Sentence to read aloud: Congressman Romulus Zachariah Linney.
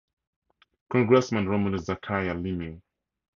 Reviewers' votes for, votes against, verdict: 4, 0, accepted